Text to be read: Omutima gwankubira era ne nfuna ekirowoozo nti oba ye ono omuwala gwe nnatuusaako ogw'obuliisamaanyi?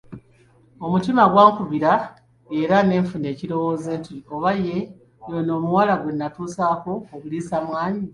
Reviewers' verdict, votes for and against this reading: rejected, 2, 3